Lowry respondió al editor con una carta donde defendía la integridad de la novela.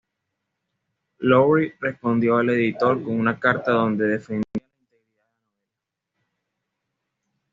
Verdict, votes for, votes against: rejected, 1, 2